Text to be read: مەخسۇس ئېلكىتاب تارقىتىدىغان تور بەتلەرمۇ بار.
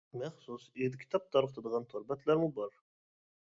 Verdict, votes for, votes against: accepted, 2, 1